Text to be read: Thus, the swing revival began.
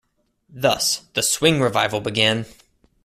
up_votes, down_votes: 2, 0